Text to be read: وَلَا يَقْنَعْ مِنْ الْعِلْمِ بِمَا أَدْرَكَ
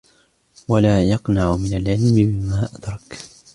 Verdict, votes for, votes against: accepted, 2, 0